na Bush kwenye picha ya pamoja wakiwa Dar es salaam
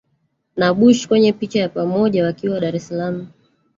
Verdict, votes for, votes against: rejected, 1, 2